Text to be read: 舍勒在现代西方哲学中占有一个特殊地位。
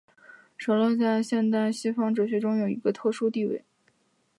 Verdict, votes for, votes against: accepted, 2, 1